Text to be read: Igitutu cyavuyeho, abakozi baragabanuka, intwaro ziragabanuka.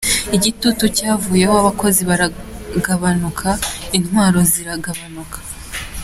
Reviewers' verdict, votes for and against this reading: accepted, 2, 0